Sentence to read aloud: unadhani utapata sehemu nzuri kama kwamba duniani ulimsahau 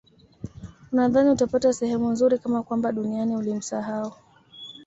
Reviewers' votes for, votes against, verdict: 2, 0, accepted